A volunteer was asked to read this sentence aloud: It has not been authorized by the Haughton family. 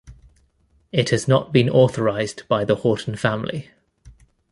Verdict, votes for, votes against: accepted, 2, 0